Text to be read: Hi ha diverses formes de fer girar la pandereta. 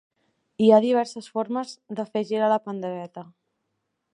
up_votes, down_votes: 2, 0